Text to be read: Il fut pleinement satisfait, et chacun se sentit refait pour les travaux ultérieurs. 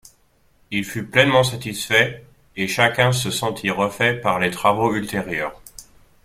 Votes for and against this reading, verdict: 0, 2, rejected